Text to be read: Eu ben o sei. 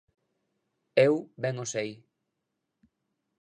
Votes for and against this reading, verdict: 2, 0, accepted